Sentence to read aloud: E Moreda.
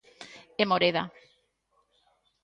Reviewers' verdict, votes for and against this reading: accepted, 2, 0